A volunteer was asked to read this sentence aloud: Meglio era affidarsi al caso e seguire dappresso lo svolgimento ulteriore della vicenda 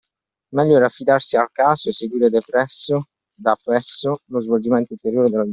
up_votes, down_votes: 0, 2